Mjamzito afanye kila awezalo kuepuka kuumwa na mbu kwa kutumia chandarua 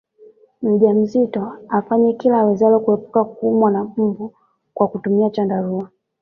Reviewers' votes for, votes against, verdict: 2, 0, accepted